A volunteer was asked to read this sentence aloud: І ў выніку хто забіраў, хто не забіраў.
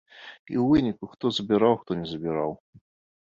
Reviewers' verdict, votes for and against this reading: accepted, 2, 1